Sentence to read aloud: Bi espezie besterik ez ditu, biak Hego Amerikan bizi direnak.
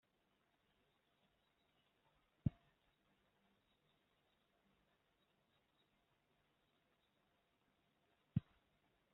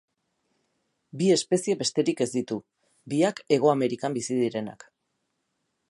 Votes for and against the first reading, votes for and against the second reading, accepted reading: 0, 2, 4, 0, second